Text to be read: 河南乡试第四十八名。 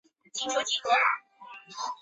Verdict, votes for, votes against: rejected, 1, 3